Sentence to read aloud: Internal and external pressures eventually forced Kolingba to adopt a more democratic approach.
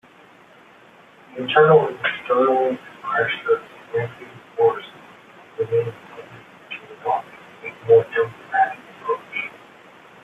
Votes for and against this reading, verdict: 0, 2, rejected